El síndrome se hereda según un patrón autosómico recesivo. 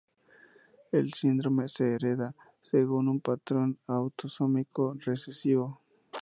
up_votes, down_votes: 2, 0